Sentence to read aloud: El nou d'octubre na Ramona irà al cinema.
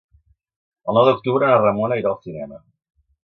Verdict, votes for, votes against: rejected, 1, 2